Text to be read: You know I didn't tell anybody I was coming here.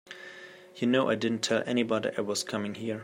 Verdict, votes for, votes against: accepted, 2, 0